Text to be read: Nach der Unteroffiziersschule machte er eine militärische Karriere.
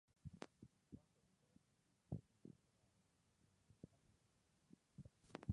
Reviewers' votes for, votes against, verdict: 0, 2, rejected